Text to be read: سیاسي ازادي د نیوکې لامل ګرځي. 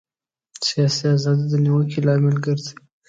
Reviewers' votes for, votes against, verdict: 0, 2, rejected